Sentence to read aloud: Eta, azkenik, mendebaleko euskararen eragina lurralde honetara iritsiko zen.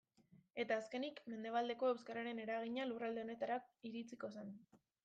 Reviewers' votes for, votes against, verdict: 0, 2, rejected